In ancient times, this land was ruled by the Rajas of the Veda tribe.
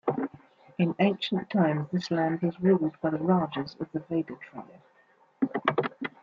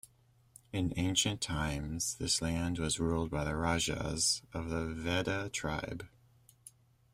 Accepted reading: second